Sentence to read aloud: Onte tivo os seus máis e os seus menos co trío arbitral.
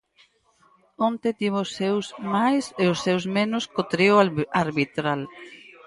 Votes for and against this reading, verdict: 2, 4, rejected